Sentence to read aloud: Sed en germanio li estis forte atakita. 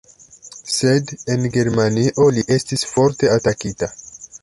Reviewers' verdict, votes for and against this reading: rejected, 1, 2